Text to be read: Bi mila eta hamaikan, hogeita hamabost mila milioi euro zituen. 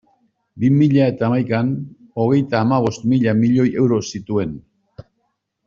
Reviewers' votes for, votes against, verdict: 2, 0, accepted